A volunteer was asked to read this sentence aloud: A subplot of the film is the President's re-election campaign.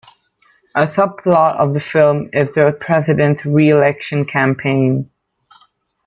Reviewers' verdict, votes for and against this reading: accepted, 2, 0